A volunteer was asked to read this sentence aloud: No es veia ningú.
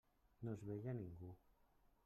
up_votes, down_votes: 1, 2